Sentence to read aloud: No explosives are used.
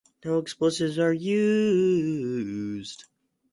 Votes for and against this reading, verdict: 0, 4, rejected